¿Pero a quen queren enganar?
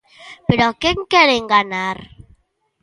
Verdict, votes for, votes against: rejected, 0, 2